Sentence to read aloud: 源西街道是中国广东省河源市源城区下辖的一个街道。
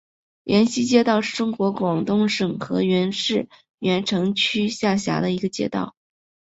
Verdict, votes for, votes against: accepted, 2, 0